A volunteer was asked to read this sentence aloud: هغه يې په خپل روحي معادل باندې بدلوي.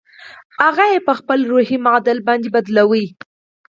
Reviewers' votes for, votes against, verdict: 4, 0, accepted